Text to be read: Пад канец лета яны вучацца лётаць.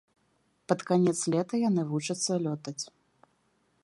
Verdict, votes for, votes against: accepted, 2, 0